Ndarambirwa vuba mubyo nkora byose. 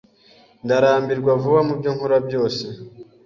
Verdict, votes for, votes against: accepted, 2, 0